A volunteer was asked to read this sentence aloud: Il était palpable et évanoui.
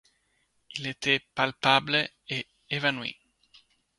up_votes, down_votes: 2, 0